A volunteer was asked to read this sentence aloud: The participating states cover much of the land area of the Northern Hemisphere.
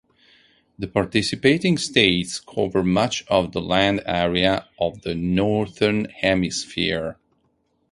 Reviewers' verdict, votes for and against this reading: accepted, 4, 0